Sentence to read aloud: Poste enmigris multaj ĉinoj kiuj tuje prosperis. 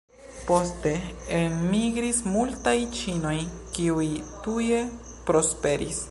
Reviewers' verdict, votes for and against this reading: accepted, 3, 0